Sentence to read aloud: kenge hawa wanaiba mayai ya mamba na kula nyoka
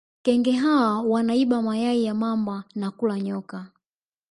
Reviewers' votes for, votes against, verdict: 5, 0, accepted